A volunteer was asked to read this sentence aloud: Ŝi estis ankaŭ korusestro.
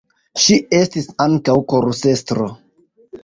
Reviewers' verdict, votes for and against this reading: rejected, 0, 2